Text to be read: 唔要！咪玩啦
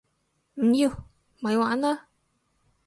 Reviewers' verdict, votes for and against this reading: accepted, 4, 0